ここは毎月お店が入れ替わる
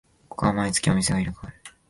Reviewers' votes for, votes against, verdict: 1, 2, rejected